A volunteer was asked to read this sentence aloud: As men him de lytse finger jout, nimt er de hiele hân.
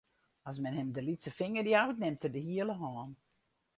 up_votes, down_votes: 2, 2